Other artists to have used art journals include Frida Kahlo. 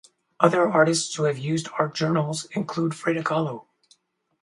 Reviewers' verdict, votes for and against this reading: accepted, 4, 0